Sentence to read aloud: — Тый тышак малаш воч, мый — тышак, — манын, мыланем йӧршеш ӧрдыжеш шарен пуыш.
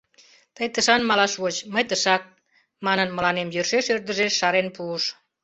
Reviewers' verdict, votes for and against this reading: rejected, 0, 2